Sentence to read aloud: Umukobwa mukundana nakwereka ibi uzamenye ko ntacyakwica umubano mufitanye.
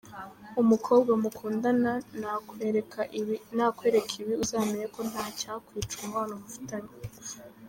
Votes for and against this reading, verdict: 1, 2, rejected